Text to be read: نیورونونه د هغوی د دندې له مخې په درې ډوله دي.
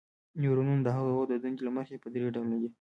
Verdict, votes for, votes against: rejected, 1, 2